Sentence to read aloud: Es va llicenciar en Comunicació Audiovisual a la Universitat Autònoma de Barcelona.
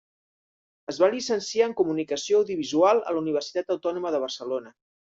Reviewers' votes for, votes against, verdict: 3, 0, accepted